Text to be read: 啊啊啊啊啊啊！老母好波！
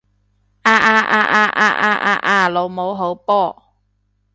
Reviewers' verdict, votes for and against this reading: rejected, 1, 2